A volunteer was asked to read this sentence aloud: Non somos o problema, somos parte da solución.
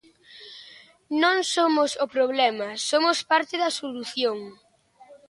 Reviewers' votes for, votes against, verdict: 2, 0, accepted